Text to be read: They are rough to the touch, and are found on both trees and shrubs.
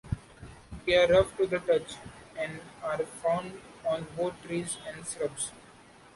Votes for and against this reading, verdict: 2, 1, accepted